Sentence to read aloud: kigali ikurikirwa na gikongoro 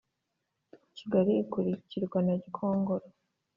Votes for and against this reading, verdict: 2, 0, accepted